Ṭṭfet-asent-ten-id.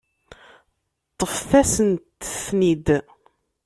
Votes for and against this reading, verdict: 1, 2, rejected